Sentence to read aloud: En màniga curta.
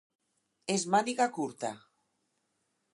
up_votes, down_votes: 0, 4